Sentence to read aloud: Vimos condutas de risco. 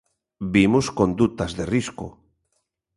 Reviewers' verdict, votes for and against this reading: accepted, 2, 0